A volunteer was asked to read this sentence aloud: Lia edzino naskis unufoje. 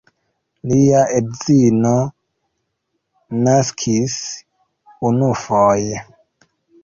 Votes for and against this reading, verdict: 1, 2, rejected